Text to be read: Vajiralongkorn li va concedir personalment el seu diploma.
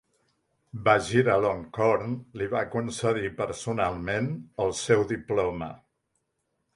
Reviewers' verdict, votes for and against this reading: accepted, 2, 0